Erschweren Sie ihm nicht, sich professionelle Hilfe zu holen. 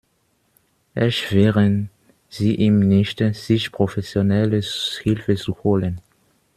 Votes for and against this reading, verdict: 0, 2, rejected